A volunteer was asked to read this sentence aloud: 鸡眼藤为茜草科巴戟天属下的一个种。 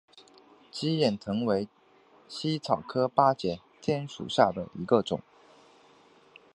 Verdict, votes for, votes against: accepted, 2, 0